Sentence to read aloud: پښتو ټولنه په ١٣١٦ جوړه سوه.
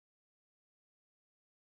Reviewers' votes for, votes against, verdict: 0, 2, rejected